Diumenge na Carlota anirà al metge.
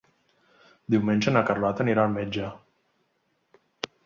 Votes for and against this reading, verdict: 3, 0, accepted